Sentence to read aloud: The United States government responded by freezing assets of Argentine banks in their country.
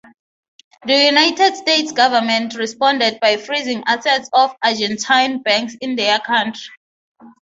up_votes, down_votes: 0, 3